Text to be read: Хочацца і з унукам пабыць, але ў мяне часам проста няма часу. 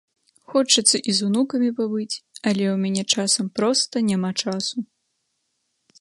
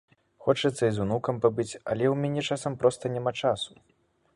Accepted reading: second